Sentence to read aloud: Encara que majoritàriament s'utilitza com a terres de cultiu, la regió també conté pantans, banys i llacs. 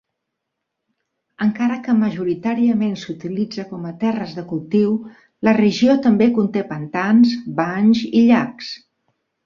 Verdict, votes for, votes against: accepted, 3, 0